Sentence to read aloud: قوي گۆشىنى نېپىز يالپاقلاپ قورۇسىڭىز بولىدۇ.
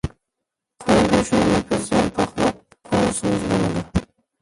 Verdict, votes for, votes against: rejected, 0, 2